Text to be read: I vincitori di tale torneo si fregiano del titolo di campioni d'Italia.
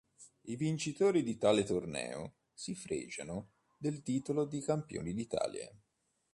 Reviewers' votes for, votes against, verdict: 2, 0, accepted